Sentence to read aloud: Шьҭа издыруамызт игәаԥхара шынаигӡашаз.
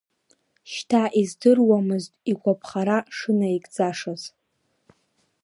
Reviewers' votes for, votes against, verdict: 0, 2, rejected